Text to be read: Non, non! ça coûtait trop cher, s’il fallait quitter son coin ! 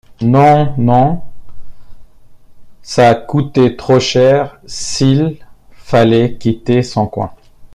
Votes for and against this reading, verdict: 2, 0, accepted